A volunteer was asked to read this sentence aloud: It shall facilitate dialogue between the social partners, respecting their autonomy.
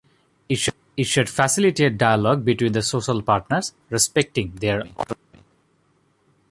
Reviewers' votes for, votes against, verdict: 1, 2, rejected